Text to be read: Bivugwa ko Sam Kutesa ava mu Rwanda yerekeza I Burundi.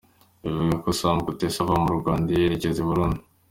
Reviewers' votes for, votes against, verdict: 2, 1, accepted